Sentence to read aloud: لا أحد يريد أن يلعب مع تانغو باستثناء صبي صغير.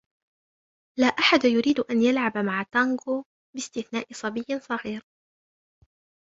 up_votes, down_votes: 2, 0